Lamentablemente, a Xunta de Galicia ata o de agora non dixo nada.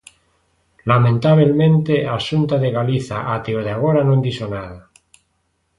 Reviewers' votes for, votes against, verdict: 1, 2, rejected